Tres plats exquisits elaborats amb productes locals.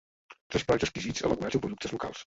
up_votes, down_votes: 1, 2